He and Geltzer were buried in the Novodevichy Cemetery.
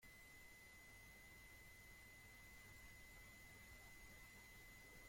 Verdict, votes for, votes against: rejected, 0, 2